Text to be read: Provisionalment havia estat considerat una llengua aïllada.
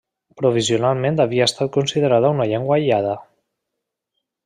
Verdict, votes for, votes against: rejected, 1, 2